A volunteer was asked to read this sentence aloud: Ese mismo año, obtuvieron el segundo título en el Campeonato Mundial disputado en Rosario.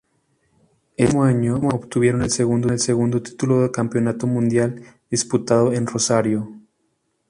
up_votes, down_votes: 0, 2